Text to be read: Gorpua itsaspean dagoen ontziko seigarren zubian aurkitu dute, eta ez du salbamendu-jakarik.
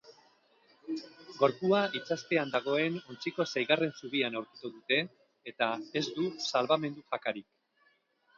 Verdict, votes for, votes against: accepted, 6, 0